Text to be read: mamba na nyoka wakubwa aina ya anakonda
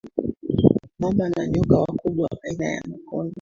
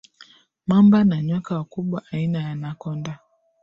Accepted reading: second